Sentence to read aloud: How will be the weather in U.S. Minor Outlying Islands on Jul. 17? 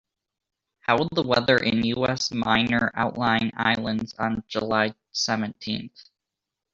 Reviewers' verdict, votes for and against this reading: rejected, 0, 2